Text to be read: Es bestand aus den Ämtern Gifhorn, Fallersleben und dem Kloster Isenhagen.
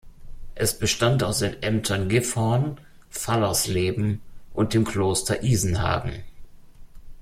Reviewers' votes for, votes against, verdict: 2, 0, accepted